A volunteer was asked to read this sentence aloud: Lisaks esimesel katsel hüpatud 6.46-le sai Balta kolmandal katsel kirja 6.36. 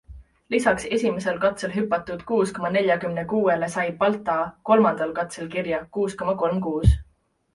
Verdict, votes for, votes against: rejected, 0, 2